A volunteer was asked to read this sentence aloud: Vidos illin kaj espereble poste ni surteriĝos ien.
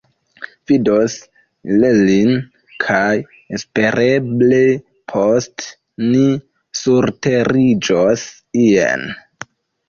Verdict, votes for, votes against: rejected, 1, 2